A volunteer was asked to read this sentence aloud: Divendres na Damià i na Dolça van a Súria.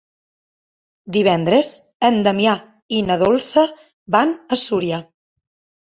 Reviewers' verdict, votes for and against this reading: rejected, 1, 2